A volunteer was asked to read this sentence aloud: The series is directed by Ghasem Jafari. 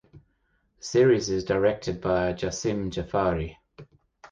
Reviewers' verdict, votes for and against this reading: rejected, 0, 2